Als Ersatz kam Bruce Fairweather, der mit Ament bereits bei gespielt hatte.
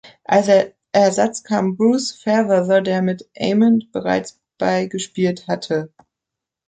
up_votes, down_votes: 0, 2